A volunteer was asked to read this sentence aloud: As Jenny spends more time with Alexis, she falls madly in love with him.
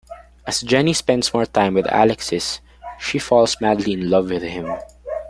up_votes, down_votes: 2, 0